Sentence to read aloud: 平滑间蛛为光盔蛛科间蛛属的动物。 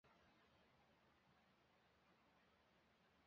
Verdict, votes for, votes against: rejected, 1, 3